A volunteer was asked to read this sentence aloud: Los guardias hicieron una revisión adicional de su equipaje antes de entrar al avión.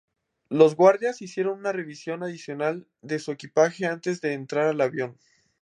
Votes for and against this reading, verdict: 2, 0, accepted